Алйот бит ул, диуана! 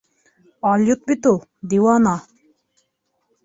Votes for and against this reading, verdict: 2, 0, accepted